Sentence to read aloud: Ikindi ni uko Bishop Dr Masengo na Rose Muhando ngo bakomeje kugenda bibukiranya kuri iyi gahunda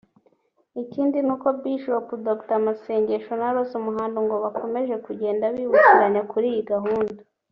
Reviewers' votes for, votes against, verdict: 0, 3, rejected